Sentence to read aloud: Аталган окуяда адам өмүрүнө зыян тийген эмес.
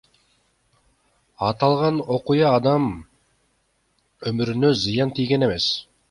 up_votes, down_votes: 0, 2